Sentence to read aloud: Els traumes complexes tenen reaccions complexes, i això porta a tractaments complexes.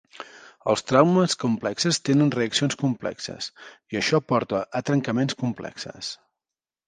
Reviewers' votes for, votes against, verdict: 0, 2, rejected